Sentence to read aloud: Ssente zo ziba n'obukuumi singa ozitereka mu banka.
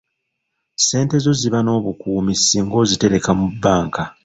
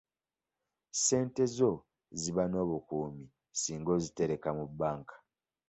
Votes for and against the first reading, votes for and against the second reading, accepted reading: 0, 2, 2, 0, second